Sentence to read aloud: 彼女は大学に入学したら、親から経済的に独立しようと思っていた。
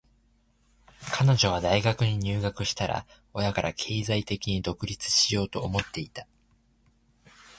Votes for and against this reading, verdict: 2, 2, rejected